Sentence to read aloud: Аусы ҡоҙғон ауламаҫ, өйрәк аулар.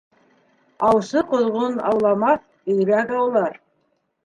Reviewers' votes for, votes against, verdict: 3, 0, accepted